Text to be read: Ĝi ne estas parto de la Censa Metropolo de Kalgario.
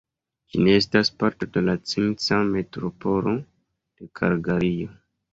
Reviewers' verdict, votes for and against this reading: rejected, 1, 2